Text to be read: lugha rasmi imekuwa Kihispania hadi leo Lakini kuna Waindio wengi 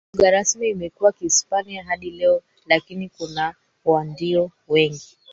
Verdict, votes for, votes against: rejected, 2, 3